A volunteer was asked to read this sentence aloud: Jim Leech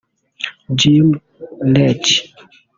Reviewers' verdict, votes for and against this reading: rejected, 0, 2